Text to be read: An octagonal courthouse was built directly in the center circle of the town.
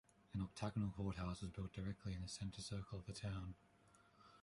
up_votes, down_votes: 1, 2